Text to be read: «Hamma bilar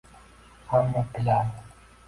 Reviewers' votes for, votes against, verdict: 1, 2, rejected